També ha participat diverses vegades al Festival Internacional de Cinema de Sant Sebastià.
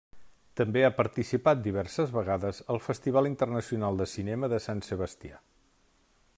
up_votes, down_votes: 3, 0